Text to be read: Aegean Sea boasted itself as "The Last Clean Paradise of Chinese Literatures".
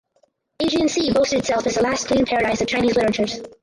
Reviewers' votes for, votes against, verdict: 0, 4, rejected